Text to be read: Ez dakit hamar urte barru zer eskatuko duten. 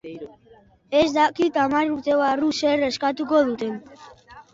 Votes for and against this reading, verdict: 0, 2, rejected